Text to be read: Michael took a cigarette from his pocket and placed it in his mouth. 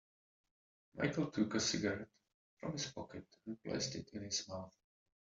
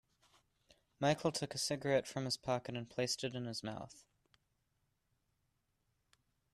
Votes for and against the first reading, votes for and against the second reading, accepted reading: 0, 2, 2, 0, second